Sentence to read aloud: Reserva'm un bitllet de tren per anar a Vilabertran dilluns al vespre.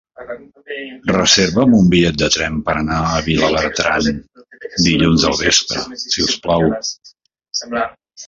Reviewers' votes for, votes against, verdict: 0, 2, rejected